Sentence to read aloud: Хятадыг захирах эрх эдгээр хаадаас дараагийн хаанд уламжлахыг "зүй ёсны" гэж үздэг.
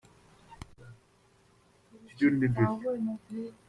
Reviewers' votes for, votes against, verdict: 0, 2, rejected